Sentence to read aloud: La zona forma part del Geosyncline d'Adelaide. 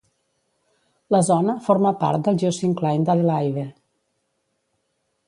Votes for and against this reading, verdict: 1, 2, rejected